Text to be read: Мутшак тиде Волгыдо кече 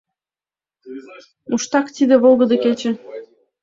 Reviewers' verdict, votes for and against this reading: accepted, 2, 1